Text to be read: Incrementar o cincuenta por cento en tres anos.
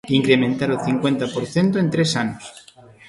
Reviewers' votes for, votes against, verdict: 1, 2, rejected